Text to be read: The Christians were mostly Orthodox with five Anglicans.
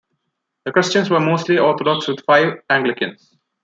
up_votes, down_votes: 2, 0